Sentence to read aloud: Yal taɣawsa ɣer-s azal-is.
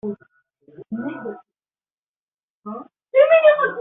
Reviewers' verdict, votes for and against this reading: rejected, 0, 2